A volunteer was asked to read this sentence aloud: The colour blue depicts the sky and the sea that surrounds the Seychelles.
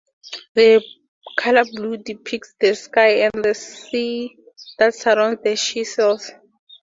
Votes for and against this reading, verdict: 4, 0, accepted